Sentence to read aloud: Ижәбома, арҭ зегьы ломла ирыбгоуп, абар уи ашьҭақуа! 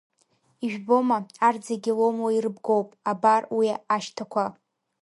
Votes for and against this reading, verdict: 1, 3, rejected